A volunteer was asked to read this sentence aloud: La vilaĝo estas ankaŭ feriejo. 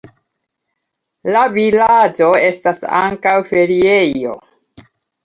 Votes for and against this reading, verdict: 1, 2, rejected